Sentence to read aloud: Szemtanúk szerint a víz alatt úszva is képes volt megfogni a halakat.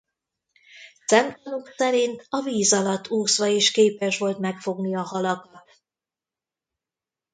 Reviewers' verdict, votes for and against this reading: rejected, 1, 2